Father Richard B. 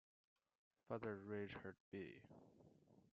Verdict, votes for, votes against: rejected, 0, 2